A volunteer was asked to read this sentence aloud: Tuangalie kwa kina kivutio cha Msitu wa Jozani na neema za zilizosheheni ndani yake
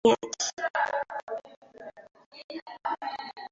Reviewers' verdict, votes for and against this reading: rejected, 0, 2